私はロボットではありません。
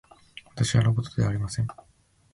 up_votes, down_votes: 2, 0